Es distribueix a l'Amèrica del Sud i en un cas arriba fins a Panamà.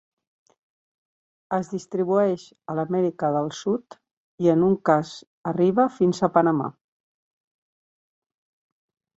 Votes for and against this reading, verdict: 4, 0, accepted